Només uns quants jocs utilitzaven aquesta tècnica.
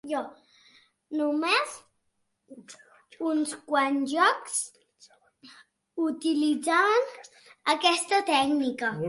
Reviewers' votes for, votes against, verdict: 0, 2, rejected